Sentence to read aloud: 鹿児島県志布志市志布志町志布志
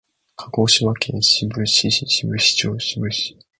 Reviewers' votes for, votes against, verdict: 2, 1, accepted